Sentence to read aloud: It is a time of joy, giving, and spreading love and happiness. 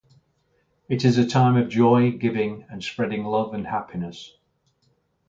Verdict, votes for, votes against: accepted, 2, 0